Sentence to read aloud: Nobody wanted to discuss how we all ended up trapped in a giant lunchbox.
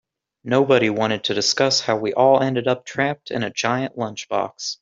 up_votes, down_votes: 2, 0